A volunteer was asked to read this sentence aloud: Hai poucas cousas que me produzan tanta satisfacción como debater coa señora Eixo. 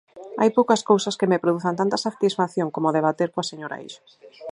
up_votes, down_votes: 0, 4